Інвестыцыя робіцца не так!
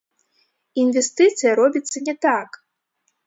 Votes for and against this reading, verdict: 1, 2, rejected